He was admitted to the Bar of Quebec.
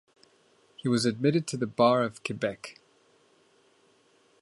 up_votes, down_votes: 2, 0